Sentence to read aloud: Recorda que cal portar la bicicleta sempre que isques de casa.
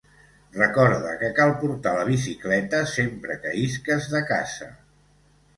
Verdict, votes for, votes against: accepted, 2, 1